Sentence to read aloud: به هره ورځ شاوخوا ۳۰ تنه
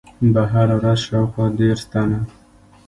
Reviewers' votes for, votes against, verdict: 0, 2, rejected